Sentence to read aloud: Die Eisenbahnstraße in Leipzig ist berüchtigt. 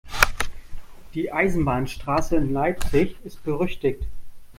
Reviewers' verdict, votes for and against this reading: accepted, 2, 0